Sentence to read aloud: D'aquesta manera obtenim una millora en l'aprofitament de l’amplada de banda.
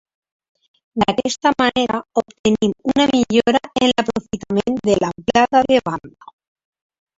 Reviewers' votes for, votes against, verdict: 0, 2, rejected